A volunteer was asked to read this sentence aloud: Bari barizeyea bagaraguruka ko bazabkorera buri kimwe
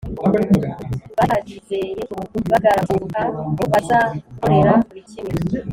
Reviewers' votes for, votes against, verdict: 1, 2, rejected